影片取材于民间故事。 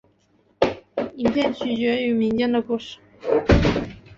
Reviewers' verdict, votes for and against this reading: rejected, 0, 2